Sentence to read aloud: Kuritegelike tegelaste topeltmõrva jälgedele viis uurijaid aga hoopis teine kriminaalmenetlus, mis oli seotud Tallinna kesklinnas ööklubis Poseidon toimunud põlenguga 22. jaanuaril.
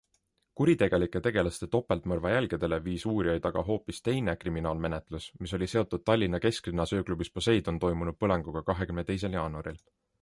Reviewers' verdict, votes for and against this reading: rejected, 0, 2